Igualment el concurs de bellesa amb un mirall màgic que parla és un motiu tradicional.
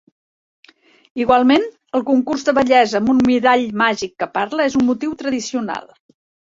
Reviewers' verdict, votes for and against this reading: accepted, 2, 1